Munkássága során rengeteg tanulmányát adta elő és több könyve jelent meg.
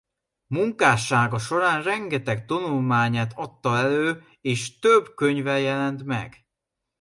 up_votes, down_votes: 2, 0